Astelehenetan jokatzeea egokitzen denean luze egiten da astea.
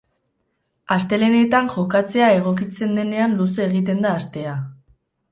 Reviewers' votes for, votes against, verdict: 2, 2, rejected